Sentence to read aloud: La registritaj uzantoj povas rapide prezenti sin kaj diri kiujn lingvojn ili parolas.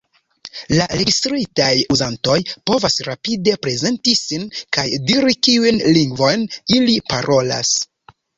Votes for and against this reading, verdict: 2, 0, accepted